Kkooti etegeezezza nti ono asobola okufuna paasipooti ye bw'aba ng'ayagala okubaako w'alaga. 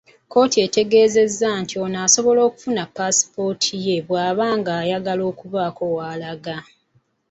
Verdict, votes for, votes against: rejected, 0, 2